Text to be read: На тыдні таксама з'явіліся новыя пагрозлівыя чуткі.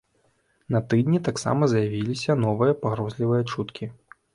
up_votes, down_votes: 2, 1